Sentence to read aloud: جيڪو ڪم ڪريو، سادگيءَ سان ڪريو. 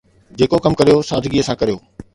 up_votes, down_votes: 2, 0